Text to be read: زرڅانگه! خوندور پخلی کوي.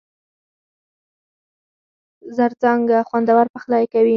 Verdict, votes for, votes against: rejected, 0, 4